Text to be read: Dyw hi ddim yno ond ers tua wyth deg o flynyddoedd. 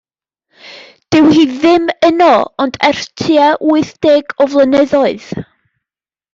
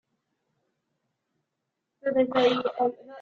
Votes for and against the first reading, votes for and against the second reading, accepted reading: 2, 0, 0, 2, first